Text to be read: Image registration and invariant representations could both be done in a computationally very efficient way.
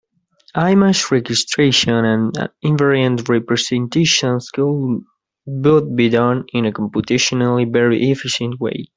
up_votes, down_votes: 0, 2